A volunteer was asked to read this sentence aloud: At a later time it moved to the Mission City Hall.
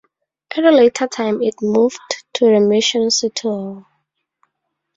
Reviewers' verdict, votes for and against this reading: rejected, 0, 2